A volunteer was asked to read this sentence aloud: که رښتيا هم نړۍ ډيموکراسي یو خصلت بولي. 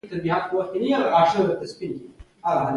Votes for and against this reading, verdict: 1, 2, rejected